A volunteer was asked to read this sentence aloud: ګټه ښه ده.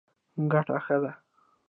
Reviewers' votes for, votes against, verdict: 2, 0, accepted